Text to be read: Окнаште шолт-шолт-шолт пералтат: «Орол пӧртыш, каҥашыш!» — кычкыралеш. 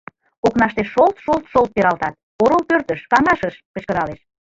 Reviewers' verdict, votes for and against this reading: rejected, 1, 2